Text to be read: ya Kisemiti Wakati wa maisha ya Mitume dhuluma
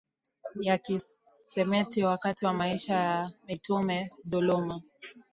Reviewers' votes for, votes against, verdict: 1, 2, rejected